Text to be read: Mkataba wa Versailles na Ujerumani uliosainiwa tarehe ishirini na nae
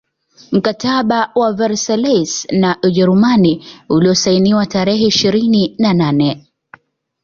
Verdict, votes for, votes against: accepted, 2, 0